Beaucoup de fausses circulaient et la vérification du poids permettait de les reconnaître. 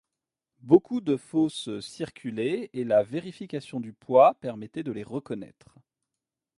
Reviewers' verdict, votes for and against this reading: accepted, 2, 0